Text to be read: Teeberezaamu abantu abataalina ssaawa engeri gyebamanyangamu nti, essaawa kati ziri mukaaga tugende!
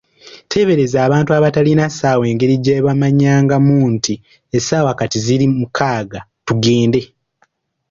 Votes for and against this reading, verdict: 1, 2, rejected